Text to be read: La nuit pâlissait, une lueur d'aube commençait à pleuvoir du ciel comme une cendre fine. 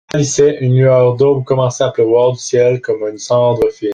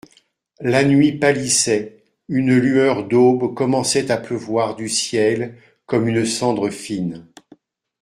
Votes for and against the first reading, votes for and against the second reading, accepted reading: 0, 2, 2, 0, second